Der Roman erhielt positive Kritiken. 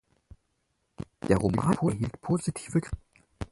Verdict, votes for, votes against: rejected, 0, 6